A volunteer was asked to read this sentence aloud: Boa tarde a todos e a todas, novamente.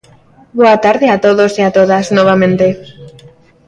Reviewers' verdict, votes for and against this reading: accepted, 3, 0